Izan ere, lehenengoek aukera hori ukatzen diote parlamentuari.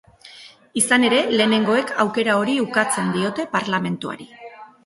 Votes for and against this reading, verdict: 2, 0, accepted